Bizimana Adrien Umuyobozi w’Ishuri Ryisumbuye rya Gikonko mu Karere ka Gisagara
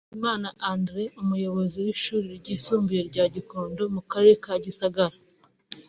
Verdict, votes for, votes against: rejected, 0, 2